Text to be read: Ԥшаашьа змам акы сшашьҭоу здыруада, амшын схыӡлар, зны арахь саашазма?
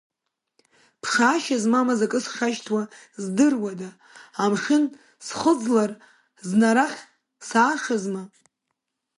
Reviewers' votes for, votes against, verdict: 1, 2, rejected